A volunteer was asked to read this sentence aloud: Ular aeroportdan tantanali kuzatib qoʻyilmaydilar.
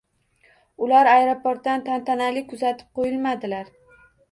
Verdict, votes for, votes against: rejected, 1, 2